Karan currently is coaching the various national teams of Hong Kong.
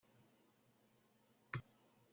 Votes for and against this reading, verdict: 0, 2, rejected